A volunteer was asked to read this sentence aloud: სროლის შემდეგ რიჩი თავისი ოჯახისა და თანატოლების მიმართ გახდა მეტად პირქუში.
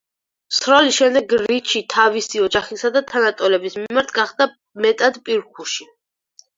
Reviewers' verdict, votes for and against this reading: rejected, 2, 4